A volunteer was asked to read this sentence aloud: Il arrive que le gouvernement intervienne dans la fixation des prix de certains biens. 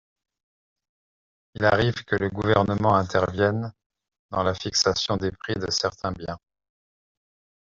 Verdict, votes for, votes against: accepted, 2, 0